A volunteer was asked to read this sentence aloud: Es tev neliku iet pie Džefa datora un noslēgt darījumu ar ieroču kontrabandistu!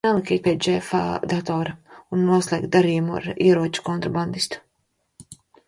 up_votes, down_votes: 0, 2